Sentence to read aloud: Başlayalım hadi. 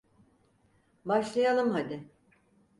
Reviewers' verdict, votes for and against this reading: accepted, 4, 0